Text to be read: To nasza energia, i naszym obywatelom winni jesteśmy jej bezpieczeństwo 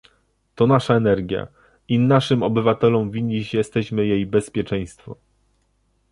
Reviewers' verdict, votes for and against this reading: rejected, 1, 2